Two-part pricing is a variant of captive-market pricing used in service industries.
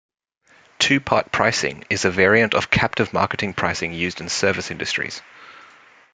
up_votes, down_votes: 0, 2